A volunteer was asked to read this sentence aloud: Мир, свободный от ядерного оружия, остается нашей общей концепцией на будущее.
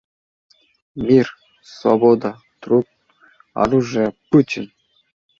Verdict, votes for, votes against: rejected, 0, 2